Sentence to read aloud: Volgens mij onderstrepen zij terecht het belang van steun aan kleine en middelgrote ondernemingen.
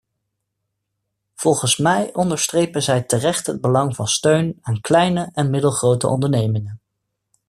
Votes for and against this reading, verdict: 2, 0, accepted